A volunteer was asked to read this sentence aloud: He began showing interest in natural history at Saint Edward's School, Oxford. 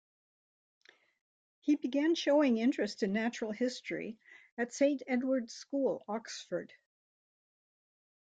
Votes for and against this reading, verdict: 2, 0, accepted